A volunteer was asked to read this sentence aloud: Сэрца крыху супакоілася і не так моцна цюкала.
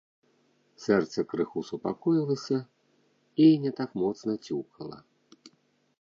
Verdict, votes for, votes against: rejected, 1, 2